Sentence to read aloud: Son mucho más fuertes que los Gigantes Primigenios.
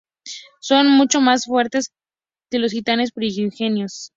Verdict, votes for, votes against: rejected, 0, 4